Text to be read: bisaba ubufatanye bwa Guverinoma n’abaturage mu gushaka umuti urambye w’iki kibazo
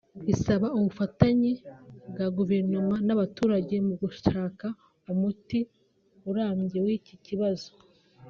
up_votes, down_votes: 2, 0